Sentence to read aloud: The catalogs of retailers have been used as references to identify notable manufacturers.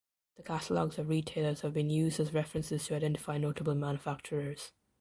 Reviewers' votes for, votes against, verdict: 1, 2, rejected